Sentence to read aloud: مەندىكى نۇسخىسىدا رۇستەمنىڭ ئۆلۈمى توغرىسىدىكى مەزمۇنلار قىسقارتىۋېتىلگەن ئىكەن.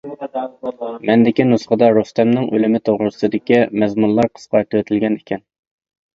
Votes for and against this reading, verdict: 0, 2, rejected